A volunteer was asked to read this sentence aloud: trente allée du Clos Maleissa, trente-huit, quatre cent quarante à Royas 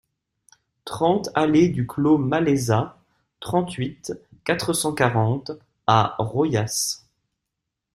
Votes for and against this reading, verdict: 1, 2, rejected